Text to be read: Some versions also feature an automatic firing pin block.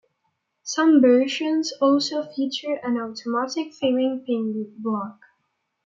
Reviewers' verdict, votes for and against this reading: rejected, 1, 2